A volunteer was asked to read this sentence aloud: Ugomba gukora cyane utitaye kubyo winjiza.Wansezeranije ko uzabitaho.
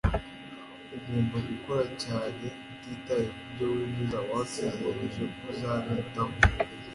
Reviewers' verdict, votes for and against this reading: accepted, 2, 0